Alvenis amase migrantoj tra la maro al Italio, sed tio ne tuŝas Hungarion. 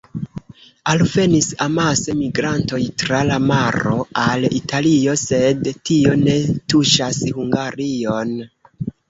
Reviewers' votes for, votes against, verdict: 1, 2, rejected